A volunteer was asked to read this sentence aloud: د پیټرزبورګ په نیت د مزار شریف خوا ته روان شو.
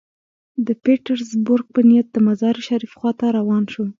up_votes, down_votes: 2, 0